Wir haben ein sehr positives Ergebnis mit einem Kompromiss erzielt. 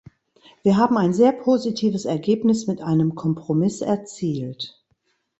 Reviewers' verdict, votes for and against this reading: accepted, 2, 0